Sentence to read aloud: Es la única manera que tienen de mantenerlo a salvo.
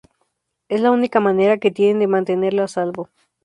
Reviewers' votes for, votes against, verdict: 2, 0, accepted